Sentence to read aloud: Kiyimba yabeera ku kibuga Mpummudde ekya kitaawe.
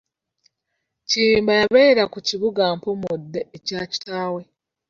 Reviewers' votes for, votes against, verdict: 0, 2, rejected